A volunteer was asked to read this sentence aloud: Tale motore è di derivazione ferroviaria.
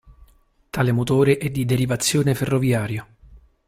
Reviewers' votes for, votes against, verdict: 2, 0, accepted